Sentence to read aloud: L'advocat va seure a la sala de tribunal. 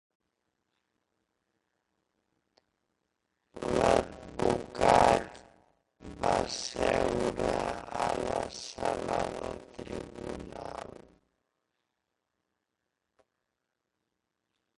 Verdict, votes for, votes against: rejected, 0, 2